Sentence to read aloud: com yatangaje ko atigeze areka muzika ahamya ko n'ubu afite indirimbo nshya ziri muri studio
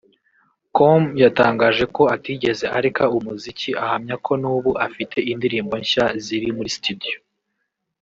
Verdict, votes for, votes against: rejected, 1, 2